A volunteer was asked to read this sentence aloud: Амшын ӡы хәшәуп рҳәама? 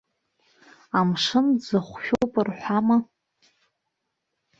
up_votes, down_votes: 1, 2